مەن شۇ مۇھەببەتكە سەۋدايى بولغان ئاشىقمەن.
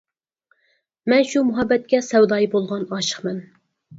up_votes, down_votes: 4, 0